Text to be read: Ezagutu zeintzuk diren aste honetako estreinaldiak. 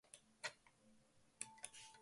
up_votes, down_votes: 0, 2